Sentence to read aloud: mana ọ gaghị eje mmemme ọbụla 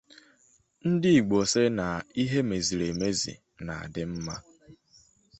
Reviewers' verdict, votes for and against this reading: rejected, 0, 2